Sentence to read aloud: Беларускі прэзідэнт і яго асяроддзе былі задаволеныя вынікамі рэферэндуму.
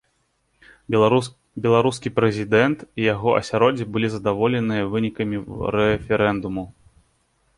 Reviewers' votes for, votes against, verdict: 0, 2, rejected